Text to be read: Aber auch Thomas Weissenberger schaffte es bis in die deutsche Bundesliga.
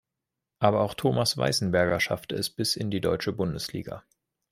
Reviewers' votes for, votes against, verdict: 2, 0, accepted